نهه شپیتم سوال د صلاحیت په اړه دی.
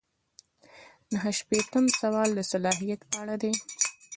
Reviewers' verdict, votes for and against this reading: rejected, 1, 2